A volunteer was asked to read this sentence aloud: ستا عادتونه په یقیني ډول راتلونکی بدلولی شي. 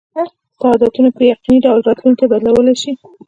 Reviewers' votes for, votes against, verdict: 0, 2, rejected